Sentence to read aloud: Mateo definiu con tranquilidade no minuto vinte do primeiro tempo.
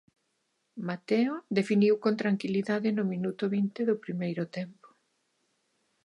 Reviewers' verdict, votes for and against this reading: rejected, 1, 3